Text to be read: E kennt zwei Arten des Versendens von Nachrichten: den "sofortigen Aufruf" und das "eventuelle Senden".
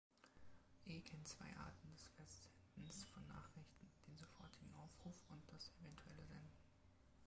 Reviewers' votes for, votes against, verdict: 0, 2, rejected